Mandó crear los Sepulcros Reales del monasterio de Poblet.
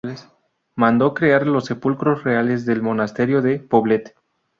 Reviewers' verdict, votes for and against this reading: rejected, 0, 2